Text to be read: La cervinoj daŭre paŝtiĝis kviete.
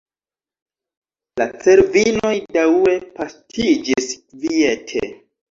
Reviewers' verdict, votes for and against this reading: rejected, 0, 2